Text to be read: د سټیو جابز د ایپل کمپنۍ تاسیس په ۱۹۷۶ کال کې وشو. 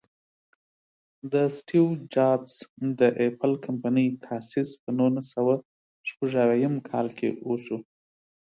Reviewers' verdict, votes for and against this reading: rejected, 0, 2